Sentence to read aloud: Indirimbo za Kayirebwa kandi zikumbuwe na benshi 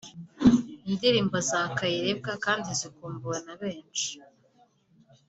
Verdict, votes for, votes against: accepted, 2, 0